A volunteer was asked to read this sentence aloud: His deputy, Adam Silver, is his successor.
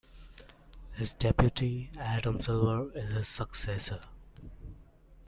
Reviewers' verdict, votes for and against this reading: accepted, 2, 0